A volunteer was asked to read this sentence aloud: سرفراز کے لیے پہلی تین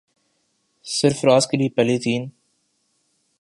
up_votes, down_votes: 2, 0